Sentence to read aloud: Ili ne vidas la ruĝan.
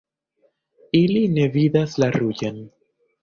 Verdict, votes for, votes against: accepted, 3, 0